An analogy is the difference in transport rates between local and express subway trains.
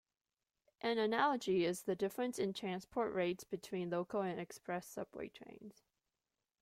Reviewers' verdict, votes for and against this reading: accepted, 2, 0